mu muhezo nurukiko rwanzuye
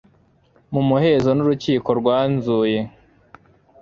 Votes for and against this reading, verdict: 2, 1, accepted